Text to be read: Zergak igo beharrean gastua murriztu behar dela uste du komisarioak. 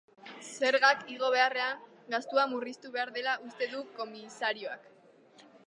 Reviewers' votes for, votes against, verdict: 2, 0, accepted